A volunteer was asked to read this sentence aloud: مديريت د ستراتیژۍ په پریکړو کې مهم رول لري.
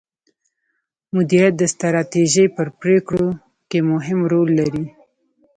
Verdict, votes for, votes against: rejected, 1, 2